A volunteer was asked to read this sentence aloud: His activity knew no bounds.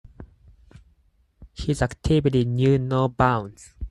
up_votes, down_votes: 4, 0